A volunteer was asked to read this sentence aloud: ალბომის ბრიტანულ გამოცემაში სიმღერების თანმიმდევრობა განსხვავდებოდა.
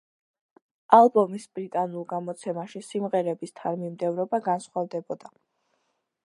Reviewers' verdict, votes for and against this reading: accepted, 2, 0